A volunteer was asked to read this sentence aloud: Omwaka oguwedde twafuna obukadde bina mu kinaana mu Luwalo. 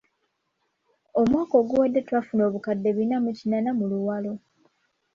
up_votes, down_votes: 2, 0